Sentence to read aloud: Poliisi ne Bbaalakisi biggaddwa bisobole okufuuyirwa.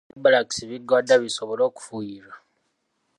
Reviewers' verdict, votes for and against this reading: rejected, 0, 2